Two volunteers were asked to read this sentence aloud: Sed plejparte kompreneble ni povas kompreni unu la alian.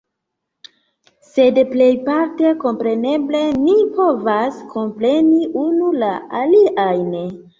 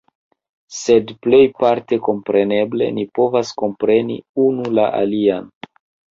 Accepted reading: second